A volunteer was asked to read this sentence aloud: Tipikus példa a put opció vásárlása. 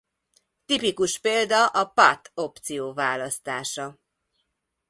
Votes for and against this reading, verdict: 0, 2, rejected